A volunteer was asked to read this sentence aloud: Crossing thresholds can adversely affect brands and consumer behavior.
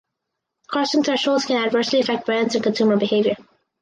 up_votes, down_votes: 2, 2